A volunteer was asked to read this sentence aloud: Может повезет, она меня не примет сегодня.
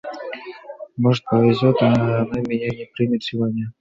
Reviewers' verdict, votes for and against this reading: accepted, 2, 0